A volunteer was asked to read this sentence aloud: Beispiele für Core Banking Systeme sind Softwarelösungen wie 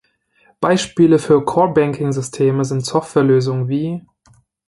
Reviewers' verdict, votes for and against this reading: accepted, 2, 0